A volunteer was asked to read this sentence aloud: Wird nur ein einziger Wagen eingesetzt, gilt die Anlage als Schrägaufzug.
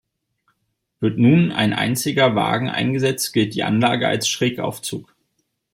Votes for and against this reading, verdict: 1, 2, rejected